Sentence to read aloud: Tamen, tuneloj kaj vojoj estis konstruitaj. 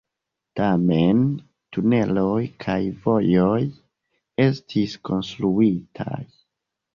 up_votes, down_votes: 2, 1